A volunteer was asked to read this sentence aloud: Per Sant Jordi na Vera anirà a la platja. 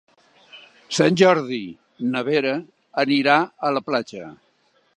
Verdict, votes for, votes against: rejected, 0, 2